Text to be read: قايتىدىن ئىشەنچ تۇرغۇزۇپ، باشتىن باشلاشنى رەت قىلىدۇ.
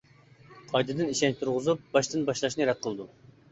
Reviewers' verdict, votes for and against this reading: accepted, 2, 0